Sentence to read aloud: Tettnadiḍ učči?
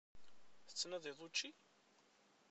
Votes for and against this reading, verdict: 0, 2, rejected